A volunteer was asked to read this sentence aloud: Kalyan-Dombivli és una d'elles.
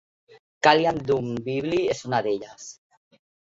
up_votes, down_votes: 0, 2